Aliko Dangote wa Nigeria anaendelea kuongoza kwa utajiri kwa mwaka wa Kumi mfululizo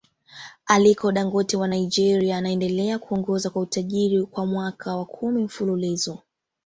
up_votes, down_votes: 2, 1